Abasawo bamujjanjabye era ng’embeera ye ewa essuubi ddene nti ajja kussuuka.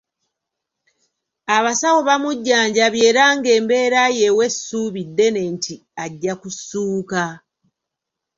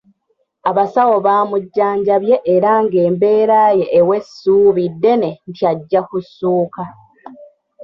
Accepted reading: first